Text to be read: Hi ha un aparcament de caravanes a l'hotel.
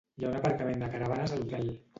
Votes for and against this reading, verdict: 0, 2, rejected